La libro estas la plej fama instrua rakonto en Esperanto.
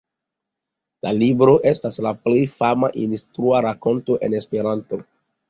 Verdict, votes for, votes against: accepted, 2, 0